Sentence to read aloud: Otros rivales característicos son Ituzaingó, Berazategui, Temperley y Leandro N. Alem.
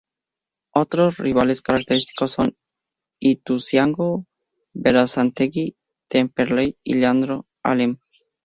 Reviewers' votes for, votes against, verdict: 0, 2, rejected